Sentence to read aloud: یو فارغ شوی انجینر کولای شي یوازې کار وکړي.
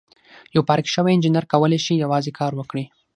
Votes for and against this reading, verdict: 3, 6, rejected